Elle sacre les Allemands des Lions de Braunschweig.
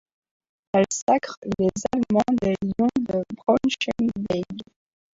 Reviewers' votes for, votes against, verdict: 0, 2, rejected